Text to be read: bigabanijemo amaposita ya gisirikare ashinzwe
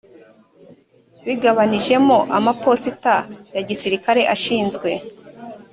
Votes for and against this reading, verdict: 4, 0, accepted